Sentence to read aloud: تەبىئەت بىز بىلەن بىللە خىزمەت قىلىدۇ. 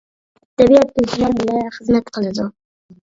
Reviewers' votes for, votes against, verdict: 1, 2, rejected